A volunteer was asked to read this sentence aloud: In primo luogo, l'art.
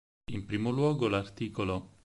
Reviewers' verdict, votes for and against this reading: rejected, 2, 4